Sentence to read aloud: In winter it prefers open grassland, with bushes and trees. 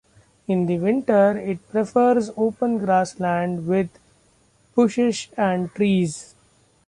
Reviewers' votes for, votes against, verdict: 1, 2, rejected